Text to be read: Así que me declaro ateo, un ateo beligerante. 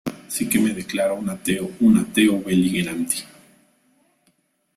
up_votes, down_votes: 0, 2